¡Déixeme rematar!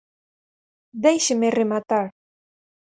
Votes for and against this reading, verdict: 4, 0, accepted